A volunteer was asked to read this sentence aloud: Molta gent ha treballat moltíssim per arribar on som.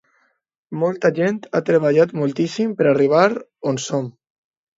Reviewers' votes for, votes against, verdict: 2, 0, accepted